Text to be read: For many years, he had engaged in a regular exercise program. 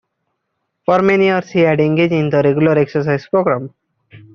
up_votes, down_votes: 0, 2